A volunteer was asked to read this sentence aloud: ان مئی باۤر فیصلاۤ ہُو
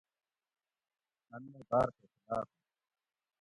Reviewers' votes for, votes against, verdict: 0, 2, rejected